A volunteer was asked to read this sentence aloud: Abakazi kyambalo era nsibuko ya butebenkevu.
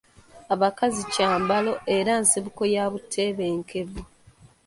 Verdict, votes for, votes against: accepted, 2, 1